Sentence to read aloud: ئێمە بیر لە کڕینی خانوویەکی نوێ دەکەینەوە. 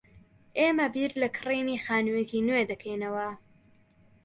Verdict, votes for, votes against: accepted, 2, 0